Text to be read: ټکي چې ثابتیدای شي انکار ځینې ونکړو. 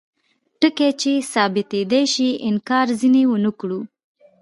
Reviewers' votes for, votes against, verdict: 2, 0, accepted